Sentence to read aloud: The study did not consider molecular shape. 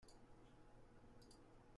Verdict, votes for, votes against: rejected, 0, 2